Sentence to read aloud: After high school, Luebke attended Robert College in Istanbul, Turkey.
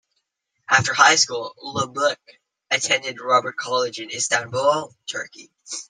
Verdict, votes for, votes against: accepted, 2, 0